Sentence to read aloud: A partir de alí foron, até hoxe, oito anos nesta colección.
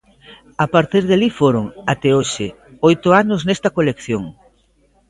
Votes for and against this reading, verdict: 2, 1, accepted